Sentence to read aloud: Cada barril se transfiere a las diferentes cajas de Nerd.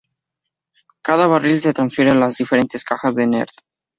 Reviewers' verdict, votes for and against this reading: accepted, 2, 0